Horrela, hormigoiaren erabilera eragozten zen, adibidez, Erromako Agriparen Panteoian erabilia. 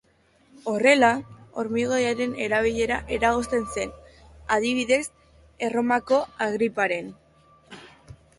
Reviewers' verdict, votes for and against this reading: rejected, 0, 2